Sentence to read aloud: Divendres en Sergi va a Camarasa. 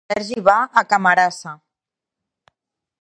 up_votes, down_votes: 0, 2